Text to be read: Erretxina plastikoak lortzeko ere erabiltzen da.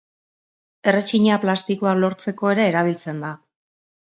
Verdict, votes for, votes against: accepted, 2, 0